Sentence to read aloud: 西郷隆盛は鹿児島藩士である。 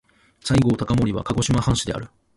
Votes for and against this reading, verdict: 2, 1, accepted